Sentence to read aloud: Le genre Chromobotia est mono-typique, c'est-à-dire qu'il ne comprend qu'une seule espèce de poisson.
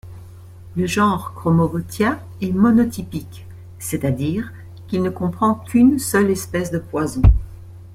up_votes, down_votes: 0, 2